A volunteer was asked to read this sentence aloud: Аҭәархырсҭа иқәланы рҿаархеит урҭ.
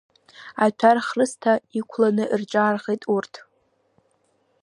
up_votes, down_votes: 0, 2